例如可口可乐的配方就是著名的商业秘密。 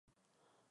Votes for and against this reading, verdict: 0, 3, rejected